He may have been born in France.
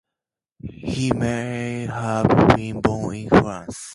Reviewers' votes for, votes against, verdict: 2, 0, accepted